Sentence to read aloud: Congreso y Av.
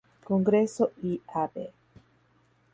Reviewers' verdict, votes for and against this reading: rejected, 0, 2